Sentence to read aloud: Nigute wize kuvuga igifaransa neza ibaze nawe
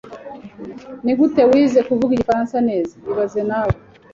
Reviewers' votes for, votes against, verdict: 3, 0, accepted